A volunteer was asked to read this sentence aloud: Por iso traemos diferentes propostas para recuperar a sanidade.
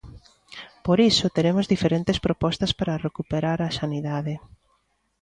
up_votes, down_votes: 0, 2